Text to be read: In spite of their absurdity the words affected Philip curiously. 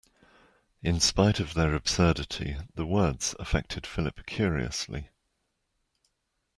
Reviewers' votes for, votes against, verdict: 2, 0, accepted